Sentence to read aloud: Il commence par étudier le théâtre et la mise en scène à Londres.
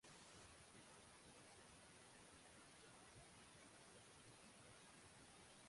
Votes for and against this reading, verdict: 0, 2, rejected